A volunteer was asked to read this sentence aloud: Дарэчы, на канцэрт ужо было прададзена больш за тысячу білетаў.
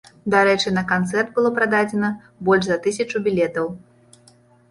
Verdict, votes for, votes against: rejected, 0, 2